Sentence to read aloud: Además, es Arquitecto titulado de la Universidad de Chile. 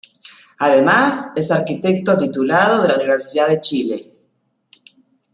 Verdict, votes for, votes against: accepted, 2, 0